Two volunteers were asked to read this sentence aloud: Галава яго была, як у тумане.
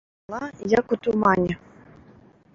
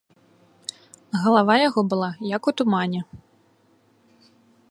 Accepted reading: second